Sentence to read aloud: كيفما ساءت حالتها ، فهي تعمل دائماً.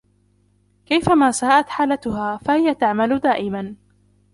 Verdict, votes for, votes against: rejected, 0, 2